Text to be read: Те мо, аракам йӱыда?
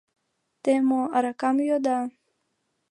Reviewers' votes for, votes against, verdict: 2, 0, accepted